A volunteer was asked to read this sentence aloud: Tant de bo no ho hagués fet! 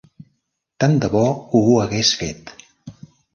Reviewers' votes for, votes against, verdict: 0, 2, rejected